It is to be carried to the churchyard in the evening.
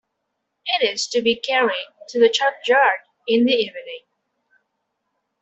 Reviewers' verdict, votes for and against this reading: accepted, 2, 1